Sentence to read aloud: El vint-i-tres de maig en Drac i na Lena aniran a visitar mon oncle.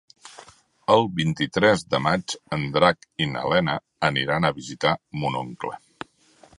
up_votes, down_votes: 1, 2